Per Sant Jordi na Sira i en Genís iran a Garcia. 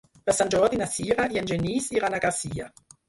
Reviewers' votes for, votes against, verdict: 2, 4, rejected